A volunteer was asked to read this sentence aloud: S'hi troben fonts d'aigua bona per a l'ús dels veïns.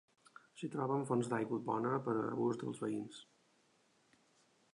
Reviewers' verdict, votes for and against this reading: rejected, 0, 2